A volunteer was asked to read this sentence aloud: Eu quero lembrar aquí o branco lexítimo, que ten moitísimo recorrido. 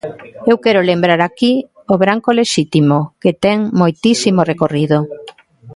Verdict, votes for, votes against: accepted, 2, 0